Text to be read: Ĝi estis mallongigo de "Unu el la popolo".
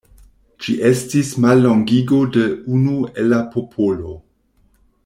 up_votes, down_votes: 2, 0